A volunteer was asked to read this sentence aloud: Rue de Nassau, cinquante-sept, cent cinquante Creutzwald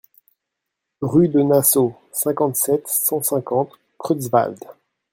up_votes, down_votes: 2, 0